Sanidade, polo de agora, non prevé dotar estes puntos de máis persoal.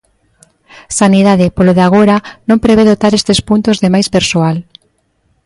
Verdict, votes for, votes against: accepted, 2, 0